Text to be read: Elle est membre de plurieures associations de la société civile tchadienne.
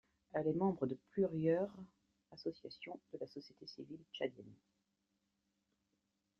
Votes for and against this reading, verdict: 0, 2, rejected